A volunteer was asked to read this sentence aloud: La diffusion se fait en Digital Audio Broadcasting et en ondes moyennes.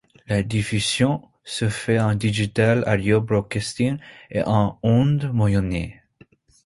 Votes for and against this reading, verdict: 2, 1, accepted